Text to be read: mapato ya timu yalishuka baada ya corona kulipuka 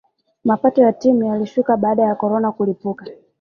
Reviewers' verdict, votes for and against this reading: accepted, 3, 0